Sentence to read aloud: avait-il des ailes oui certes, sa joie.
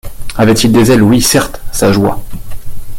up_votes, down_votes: 2, 0